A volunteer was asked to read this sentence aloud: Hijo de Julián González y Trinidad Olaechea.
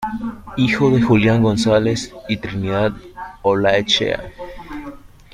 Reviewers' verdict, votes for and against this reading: accepted, 2, 0